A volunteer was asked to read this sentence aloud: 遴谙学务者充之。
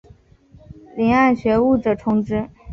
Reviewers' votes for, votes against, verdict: 2, 0, accepted